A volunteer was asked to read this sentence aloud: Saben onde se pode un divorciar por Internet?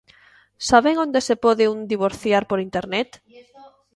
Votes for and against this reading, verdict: 0, 2, rejected